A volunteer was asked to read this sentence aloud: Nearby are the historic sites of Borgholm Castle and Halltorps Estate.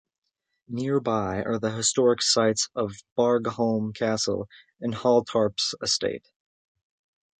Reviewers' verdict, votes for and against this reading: accepted, 2, 0